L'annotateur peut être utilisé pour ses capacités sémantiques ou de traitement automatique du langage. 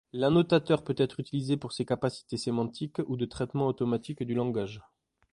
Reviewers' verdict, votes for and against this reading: accepted, 2, 0